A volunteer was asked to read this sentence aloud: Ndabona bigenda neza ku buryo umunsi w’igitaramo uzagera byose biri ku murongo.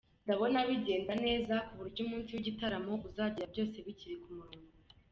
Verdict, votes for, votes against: accepted, 2, 1